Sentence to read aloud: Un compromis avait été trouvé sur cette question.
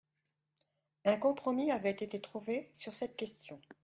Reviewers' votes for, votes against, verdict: 2, 0, accepted